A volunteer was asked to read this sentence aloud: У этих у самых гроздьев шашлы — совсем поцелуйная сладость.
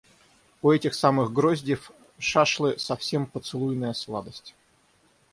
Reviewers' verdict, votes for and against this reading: rejected, 3, 6